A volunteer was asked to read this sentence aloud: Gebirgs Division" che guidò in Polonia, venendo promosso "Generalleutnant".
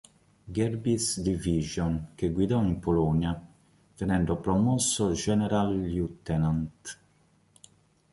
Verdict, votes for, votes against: rejected, 0, 2